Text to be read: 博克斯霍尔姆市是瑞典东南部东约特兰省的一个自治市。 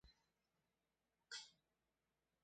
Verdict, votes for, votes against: rejected, 0, 2